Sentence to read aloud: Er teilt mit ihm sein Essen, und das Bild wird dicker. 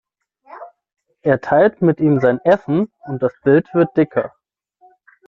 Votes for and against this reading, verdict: 3, 6, rejected